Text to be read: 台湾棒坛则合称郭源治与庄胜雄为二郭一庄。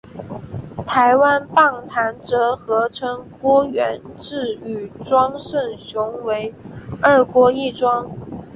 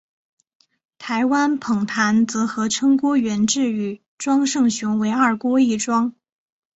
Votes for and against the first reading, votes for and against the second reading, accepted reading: 4, 1, 0, 2, first